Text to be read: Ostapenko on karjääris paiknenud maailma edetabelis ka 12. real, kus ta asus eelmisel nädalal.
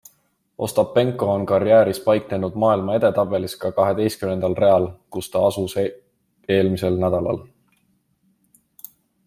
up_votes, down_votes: 0, 2